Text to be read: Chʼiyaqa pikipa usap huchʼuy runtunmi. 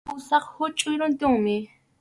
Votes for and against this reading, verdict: 2, 2, rejected